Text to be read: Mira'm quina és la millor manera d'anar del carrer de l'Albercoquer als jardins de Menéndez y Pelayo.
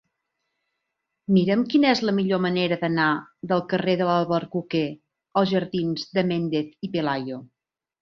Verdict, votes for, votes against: rejected, 1, 2